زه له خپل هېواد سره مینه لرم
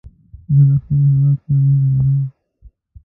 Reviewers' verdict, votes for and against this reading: rejected, 0, 2